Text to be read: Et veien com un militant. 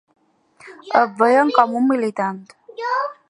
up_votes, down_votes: 2, 0